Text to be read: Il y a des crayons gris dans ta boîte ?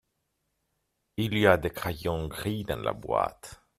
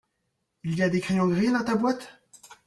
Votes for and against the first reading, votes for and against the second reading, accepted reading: 1, 2, 2, 1, second